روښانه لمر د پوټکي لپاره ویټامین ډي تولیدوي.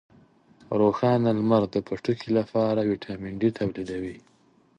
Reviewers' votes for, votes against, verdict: 2, 0, accepted